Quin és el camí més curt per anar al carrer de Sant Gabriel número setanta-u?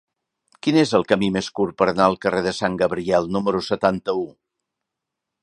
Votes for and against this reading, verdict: 3, 0, accepted